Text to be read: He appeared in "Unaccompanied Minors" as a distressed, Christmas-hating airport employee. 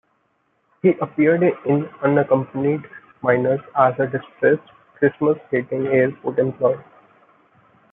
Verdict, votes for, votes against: accepted, 2, 1